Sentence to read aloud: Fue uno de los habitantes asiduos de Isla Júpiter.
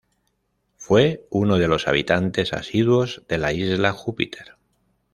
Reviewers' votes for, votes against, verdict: 1, 2, rejected